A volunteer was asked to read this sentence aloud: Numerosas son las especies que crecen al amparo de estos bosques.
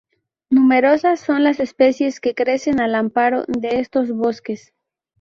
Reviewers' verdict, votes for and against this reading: accepted, 2, 0